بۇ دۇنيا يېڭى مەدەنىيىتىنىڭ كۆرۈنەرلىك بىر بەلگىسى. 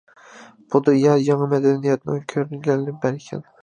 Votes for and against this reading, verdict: 0, 2, rejected